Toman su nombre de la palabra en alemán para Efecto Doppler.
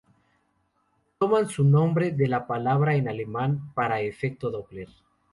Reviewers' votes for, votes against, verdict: 2, 0, accepted